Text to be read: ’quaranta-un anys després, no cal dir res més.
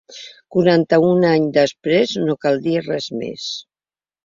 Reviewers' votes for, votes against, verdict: 2, 0, accepted